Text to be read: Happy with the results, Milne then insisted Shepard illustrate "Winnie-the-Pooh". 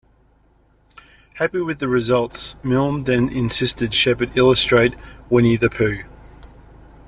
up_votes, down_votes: 2, 0